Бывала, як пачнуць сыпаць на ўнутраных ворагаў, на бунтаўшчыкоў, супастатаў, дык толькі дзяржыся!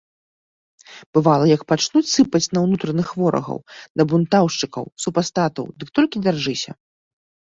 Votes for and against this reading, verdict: 0, 2, rejected